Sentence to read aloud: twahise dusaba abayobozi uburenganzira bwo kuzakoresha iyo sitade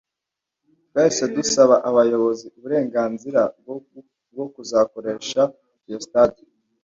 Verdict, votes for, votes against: rejected, 1, 2